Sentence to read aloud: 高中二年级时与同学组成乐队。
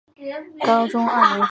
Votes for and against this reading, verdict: 2, 3, rejected